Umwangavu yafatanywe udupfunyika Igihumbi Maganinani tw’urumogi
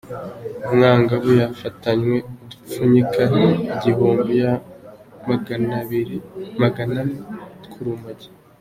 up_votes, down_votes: 2, 1